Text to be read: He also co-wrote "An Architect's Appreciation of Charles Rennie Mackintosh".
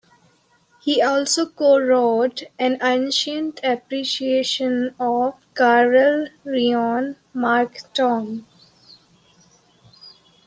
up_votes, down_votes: 0, 2